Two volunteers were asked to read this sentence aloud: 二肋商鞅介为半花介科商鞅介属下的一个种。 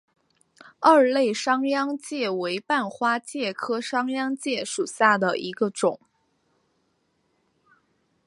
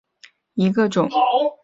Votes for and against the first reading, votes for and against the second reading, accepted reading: 2, 0, 0, 3, first